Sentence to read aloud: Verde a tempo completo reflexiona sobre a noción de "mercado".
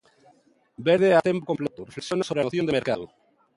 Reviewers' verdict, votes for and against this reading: rejected, 0, 2